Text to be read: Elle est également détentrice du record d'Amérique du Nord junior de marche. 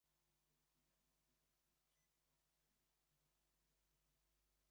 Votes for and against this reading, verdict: 0, 2, rejected